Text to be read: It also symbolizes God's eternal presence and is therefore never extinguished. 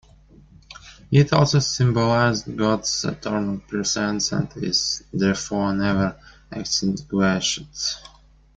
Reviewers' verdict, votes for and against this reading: rejected, 1, 2